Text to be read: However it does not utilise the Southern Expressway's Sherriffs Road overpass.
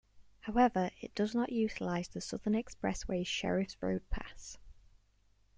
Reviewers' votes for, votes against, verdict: 0, 2, rejected